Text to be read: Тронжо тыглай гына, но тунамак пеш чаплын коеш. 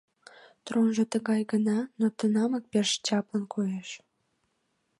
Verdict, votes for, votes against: rejected, 0, 2